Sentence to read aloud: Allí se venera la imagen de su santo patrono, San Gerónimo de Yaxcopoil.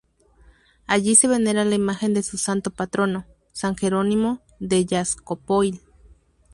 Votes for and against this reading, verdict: 2, 2, rejected